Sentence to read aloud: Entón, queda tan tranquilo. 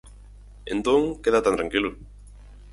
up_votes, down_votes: 4, 0